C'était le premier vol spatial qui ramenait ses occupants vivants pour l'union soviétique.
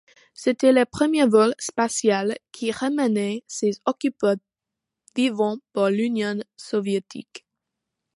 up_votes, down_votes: 1, 2